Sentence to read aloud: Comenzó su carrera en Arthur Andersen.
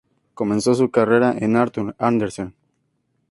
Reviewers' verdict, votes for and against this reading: accepted, 2, 0